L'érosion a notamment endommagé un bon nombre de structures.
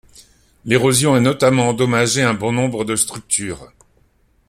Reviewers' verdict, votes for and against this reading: accepted, 2, 0